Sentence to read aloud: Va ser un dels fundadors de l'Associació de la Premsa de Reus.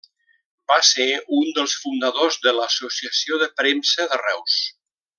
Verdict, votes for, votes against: rejected, 0, 2